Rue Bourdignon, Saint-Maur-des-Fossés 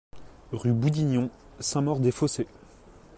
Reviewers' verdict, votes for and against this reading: rejected, 1, 2